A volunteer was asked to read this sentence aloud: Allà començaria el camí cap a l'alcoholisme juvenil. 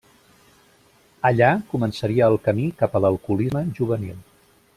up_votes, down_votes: 0, 2